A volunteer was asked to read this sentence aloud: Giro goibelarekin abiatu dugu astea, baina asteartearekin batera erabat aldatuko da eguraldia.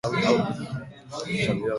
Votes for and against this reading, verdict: 0, 2, rejected